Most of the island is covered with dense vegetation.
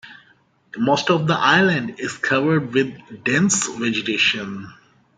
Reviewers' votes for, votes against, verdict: 2, 0, accepted